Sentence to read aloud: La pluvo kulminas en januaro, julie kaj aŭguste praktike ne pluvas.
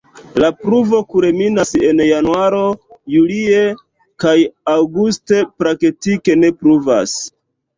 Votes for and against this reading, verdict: 1, 2, rejected